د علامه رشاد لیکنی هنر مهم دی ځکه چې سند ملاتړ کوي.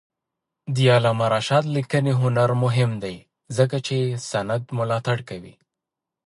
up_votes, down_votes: 2, 1